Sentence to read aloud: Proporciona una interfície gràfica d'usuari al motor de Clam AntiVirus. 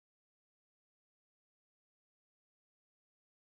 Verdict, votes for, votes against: rejected, 0, 2